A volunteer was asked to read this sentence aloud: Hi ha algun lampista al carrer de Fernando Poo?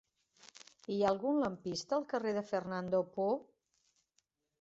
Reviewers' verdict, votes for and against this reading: accepted, 3, 0